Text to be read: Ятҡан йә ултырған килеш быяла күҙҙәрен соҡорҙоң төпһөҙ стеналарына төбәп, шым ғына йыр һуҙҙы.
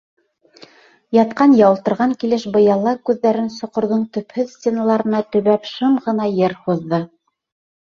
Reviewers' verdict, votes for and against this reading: accepted, 2, 0